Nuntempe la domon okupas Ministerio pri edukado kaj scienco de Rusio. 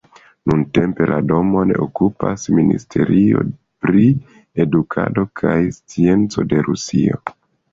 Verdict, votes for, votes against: accepted, 2, 0